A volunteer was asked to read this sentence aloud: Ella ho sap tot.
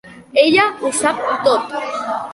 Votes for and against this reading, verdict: 2, 0, accepted